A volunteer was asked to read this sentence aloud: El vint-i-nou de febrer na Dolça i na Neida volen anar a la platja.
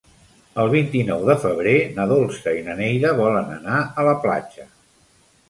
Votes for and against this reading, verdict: 3, 0, accepted